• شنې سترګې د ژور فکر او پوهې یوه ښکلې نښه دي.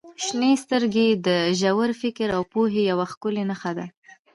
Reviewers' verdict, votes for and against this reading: accepted, 2, 1